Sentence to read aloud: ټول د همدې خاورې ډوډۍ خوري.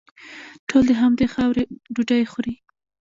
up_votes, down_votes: 0, 2